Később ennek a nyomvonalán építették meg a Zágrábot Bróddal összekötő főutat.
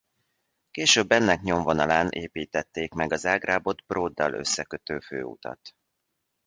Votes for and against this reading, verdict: 1, 2, rejected